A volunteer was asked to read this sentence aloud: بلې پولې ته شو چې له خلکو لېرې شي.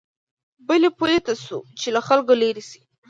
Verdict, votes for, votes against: accepted, 2, 0